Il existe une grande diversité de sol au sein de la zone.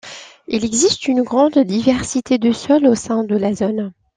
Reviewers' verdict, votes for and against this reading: accepted, 2, 0